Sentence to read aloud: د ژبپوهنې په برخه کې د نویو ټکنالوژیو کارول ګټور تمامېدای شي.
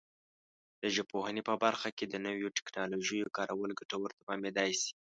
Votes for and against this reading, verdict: 2, 0, accepted